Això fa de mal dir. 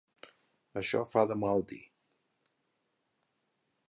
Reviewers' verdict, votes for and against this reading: accepted, 3, 0